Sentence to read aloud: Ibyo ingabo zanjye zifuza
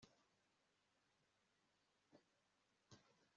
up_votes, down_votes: 1, 2